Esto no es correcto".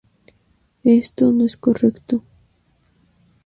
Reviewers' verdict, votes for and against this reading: accepted, 4, 0